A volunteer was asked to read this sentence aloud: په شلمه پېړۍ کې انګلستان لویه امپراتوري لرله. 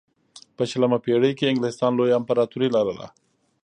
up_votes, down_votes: 2, 0